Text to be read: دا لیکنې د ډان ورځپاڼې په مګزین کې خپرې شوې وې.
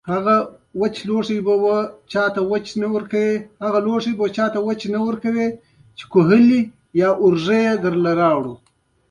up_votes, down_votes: 0, 2